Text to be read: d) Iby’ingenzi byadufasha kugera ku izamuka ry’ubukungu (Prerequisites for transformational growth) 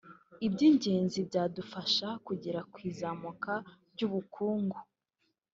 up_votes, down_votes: 0, 2